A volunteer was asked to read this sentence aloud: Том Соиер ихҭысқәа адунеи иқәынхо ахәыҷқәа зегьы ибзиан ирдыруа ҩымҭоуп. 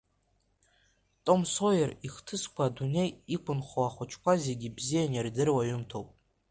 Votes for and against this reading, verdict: 2, 1, accepted